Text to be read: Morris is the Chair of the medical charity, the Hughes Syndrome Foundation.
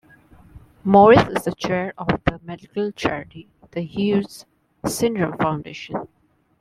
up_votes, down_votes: 2, 0